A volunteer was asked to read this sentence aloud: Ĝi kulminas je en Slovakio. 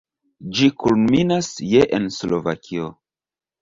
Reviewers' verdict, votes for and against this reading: rejected, 1, 2